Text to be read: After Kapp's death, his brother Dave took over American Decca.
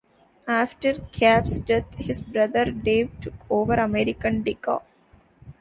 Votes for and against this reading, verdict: 2, 0, accepted